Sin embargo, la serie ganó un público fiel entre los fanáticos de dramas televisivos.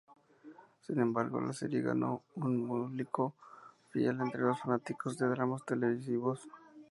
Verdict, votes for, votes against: accepted, 2, 0